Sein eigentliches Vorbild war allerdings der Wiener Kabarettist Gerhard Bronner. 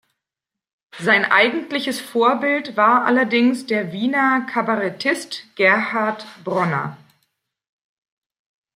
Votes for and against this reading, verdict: 2, 0, accepted